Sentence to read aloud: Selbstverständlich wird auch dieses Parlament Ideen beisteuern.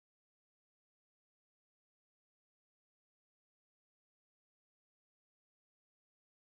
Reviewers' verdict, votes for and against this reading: rejected, 0, 2